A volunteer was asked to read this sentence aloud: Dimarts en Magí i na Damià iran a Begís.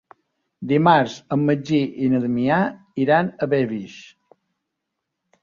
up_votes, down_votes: 0, 2